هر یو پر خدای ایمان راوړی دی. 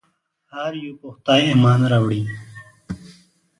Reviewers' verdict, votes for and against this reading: rejected, 1, 2